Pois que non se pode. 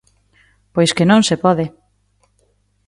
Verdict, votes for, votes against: accepted, 2, 0